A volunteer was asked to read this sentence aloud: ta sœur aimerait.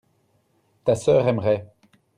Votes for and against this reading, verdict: 2, 0, accepted